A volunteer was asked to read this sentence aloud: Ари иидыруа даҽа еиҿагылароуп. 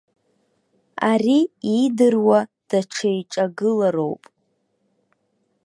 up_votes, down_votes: 2, 0